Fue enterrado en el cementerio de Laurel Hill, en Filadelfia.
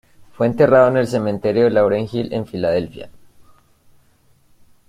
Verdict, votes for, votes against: accepted, 2, 0